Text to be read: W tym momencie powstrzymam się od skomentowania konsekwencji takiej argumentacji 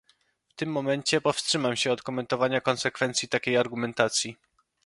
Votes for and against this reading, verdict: 0, 2, rejected